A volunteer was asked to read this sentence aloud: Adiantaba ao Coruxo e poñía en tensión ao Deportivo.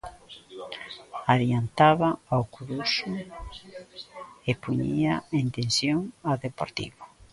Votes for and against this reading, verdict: 0, 2, rejected